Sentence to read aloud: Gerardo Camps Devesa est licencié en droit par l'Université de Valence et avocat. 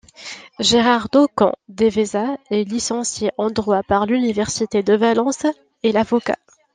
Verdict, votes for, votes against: rejected, 1, 2